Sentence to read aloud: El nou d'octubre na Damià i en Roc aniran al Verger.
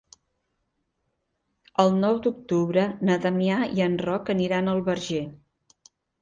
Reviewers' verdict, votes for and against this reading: accepted, 4, 0